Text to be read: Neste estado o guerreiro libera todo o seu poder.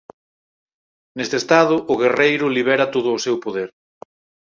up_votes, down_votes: 4, 0